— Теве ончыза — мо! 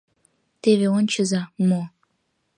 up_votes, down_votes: 2, 0